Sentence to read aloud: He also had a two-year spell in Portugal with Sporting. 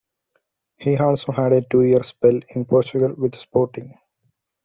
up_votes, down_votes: 2, 0